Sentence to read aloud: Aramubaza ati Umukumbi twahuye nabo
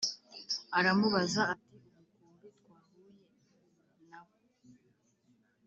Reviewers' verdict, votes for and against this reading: rejected, 3, 4